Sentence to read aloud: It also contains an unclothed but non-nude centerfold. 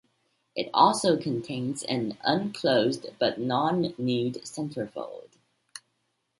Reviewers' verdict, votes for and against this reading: accepted, 2, 0